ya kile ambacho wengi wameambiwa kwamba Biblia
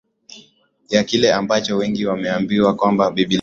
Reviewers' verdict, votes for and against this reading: accepted, 6, 4